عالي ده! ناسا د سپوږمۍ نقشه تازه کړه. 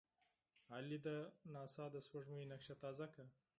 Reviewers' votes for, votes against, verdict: 4, 0, accepted